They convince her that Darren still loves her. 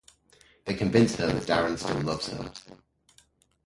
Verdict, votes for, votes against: rejected, 0, 2